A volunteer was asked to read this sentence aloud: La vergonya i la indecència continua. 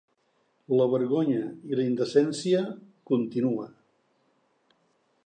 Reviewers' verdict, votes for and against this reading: accepted, 3, 0